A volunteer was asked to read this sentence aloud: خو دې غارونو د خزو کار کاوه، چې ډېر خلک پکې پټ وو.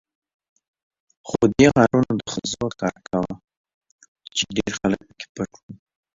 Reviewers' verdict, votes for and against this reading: rejected, 1, 2